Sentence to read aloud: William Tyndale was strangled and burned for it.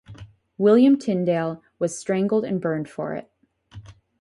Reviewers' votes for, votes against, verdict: 0, 2, rejected